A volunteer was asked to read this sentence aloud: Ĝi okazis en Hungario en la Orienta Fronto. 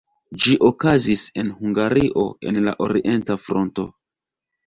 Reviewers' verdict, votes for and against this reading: rejected, 1, 2